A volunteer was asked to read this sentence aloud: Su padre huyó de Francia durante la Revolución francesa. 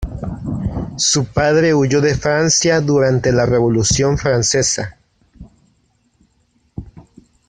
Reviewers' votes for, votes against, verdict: 0, 2, rejected